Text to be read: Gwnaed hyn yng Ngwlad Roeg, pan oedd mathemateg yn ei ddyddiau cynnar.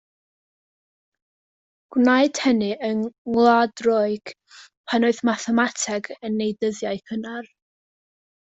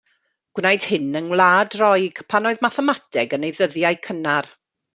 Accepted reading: second